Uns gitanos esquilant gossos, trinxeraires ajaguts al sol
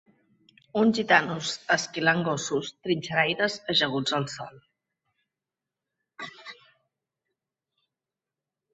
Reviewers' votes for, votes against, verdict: 0, 2, rejected